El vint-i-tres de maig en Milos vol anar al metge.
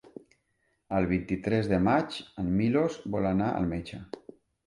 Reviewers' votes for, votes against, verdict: 3, 0, accepted